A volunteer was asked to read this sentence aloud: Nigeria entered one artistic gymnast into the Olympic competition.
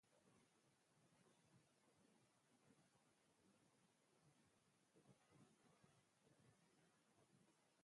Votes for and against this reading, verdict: 0, 2, rejected